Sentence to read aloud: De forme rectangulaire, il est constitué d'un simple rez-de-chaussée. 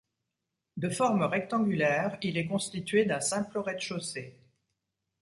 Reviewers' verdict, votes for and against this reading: accepted, 2, 0